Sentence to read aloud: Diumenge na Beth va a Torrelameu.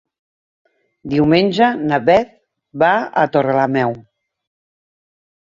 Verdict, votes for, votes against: accepted, 3, 0